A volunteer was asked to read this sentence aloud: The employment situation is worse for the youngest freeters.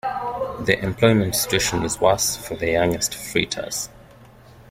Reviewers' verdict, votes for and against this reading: rejected, 1, 2